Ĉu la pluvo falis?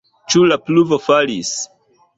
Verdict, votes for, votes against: accepted, 2, 0